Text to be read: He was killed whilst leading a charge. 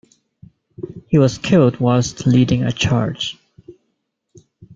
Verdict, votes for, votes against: accepted, 2, 0